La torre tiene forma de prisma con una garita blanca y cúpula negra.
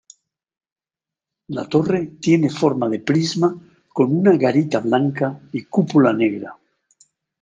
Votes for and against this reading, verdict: 0, 2, rejected